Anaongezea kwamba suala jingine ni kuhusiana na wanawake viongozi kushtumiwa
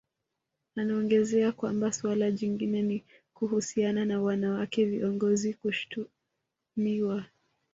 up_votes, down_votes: 2, 1